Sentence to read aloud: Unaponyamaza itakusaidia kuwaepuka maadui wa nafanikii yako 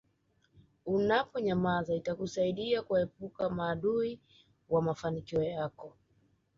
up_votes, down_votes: 1, 2